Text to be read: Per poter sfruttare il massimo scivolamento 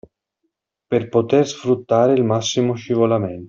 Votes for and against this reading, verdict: 2, 0, accepted